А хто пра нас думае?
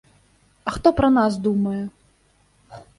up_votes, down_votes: 3, 0